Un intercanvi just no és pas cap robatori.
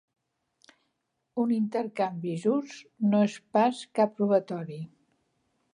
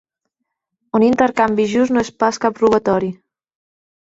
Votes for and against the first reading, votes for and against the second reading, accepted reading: 2, 0, 1, 2, first